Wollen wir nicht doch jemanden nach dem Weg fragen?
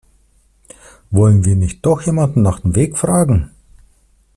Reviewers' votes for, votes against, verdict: 2, 0, accepted